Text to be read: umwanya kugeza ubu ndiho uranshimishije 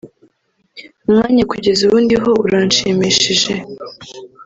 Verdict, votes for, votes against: rejected, 1, 2